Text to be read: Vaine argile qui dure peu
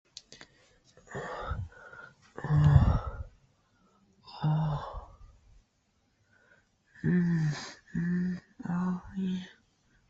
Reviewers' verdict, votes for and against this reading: rejected, 0, 2